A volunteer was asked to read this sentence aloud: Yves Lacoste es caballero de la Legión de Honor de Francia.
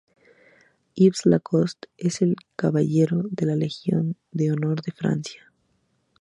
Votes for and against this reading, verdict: 0, 2, rejected